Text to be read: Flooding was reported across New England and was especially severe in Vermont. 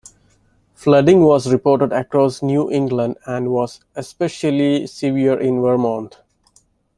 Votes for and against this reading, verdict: 2, 1, accepted